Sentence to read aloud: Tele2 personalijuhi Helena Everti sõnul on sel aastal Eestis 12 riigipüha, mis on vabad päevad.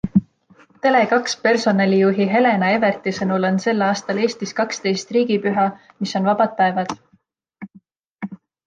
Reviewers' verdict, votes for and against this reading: rejected, 0, 2